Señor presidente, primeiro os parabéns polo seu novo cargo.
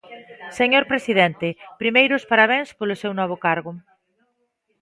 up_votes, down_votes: 2, 0